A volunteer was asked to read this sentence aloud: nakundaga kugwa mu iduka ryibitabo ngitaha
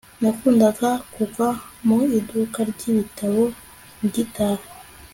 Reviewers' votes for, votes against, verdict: 2, 0, accepted